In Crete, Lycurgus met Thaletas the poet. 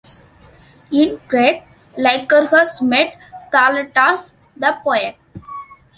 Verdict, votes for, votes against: accepted, 2, 0